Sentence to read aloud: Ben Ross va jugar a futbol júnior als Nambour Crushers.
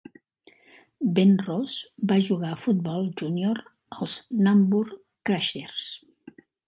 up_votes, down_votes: 4, 0